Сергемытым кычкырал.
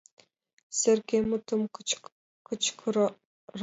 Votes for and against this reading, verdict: 0, 2, rejected